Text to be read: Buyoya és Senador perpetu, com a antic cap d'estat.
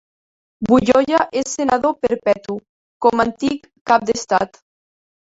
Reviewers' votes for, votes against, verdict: 0, 2, rejected